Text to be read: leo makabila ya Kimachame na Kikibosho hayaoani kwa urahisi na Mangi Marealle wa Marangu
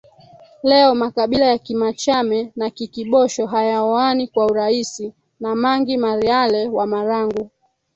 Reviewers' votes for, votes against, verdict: 3, 2, accepted